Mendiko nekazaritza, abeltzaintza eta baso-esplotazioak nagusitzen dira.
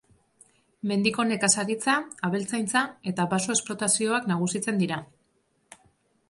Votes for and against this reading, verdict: 4, 0, accepted